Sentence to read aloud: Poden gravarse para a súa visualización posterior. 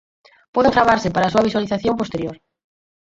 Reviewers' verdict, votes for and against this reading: accepted, 6, 2